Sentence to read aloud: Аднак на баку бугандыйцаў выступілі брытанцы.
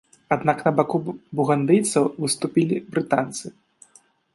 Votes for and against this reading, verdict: 0, 2, rejected